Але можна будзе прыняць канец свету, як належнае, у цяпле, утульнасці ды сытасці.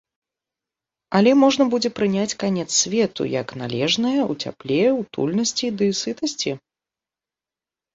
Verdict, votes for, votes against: accepted, 2, 0